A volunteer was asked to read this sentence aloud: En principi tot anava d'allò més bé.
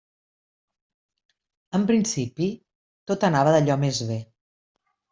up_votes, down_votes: 3, 0